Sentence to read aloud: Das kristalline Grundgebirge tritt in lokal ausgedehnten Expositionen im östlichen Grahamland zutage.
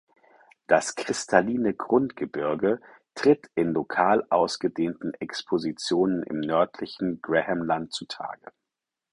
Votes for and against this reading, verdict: 2, 4, rejected